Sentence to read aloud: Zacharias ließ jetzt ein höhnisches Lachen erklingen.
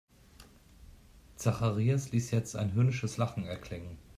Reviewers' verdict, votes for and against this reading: accepted, 2, 0